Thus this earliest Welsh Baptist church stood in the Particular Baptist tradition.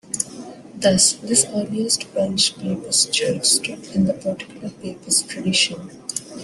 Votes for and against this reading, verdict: 1, 2, rejected